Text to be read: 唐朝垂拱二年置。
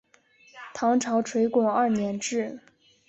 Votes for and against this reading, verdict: 1, 2, rejected